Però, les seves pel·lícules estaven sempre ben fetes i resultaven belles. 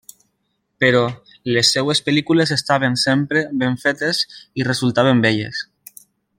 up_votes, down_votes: 2, 0